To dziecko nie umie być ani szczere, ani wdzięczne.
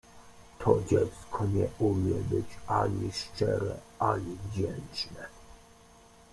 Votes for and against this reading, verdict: 0, 2, rejected